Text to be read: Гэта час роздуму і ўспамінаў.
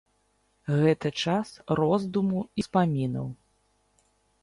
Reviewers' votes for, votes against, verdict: 1, 2, rejected